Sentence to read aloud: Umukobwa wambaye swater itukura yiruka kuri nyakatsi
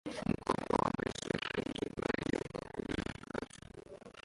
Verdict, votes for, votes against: rejected, 0, 2